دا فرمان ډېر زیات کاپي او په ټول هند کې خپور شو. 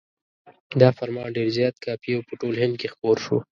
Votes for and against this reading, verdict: 2, 0, accepted